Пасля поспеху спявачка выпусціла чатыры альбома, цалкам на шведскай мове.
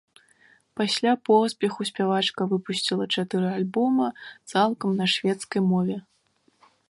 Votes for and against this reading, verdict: 2, 0, accepted